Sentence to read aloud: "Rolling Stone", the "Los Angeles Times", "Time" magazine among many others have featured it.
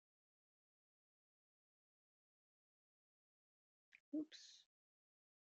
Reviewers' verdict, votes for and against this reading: rejected, 0, 2